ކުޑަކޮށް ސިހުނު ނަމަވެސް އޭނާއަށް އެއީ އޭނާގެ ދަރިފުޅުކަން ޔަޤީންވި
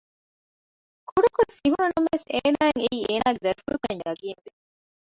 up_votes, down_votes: 1, 2